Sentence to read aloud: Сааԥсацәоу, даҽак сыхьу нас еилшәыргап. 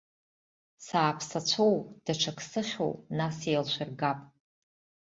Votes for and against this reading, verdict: 2, 0, accepted